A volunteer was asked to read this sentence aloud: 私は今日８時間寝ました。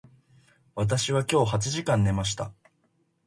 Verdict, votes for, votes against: rejected, 0, 2